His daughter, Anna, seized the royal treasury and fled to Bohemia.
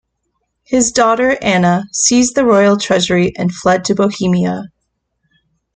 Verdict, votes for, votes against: accepted, 2, 0